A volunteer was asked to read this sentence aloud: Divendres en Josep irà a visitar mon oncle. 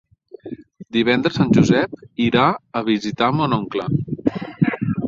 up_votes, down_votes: 3, 0